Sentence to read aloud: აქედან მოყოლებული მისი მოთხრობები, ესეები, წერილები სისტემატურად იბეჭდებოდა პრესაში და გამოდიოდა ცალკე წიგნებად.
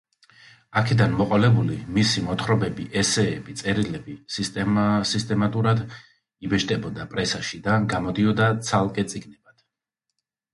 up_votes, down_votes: 2, 1